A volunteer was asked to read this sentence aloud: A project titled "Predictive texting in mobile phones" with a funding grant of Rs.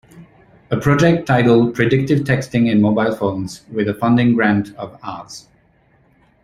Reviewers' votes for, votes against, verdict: 1, 2, rejected